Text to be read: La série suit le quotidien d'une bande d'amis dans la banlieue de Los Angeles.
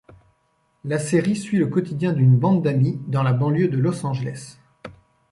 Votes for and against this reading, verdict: 2, 0, accepted